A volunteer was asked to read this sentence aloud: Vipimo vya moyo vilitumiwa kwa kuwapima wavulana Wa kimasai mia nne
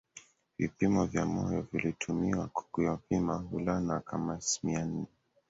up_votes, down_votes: 0, 2